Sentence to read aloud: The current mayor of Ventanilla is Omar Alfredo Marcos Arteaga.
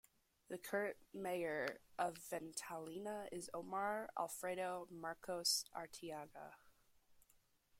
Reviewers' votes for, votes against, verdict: 1, 2, rejected